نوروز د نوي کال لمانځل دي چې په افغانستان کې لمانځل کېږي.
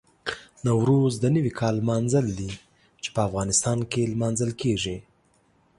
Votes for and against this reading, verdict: 2, 0, accepted